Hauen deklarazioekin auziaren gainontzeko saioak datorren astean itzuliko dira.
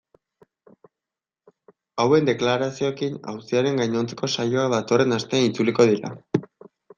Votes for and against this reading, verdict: 2, 0, accepted